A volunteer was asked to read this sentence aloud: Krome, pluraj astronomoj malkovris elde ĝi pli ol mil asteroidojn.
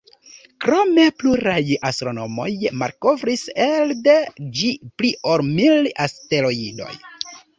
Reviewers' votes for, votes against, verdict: 0, 2, rejected